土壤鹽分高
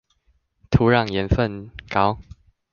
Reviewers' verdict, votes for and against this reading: rejected, 1, 2